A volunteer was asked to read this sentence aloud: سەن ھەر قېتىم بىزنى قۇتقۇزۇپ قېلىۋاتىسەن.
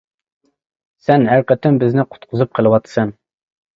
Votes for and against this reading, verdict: 2, 0, accepted